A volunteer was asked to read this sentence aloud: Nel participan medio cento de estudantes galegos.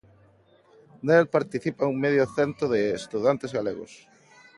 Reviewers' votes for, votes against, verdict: 2, 0, accepted